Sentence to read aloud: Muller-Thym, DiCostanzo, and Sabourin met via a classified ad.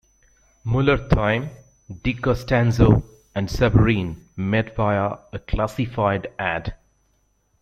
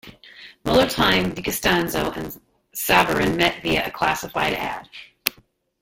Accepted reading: first